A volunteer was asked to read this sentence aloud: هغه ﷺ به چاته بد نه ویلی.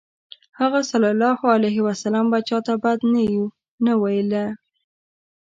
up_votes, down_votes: 1, 2